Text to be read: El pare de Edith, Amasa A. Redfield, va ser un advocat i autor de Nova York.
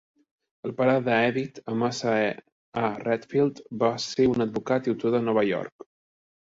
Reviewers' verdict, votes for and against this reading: accepted, 2, 0